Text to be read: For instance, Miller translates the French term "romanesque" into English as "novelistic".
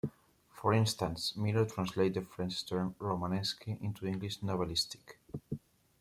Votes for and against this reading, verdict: 1, 2, rejected